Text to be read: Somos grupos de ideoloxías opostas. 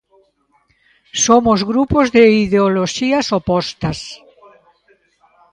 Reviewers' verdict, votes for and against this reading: rejected, 0, 2